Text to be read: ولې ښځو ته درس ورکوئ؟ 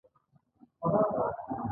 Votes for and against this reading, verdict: 0, 2, rejected